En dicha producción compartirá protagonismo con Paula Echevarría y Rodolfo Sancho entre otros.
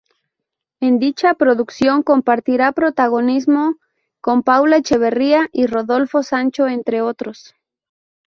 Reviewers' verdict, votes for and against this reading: accepted, 2, 0